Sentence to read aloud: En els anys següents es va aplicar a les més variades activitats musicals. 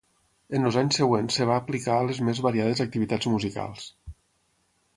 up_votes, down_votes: 3, 6